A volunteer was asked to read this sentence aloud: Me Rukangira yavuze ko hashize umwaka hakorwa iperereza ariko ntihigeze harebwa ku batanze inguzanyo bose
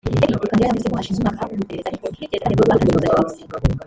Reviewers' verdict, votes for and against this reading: rejected, 0, 3